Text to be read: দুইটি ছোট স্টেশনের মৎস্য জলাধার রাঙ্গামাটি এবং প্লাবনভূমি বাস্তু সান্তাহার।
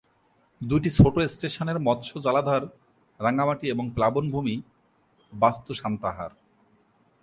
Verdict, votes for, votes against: accepted, 3, 2